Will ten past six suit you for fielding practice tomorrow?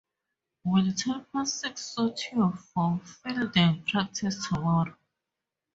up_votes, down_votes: 0, 2